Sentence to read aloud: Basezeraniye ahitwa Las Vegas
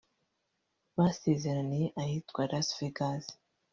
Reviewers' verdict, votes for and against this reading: rejected, 0, 2